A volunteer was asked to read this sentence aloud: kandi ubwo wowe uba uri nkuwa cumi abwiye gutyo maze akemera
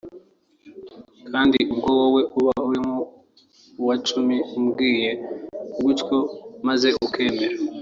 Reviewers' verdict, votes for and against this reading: rejected, 1, 2